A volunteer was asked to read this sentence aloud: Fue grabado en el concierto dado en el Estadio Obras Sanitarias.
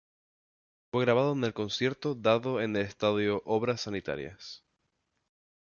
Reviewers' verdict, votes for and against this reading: accepted, 2, 0